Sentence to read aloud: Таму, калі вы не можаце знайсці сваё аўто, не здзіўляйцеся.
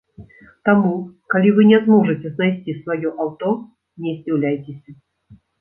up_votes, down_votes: 0, 2